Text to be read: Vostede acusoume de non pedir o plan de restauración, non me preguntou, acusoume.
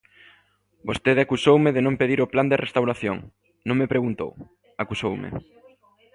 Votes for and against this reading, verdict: 2, 0, accepted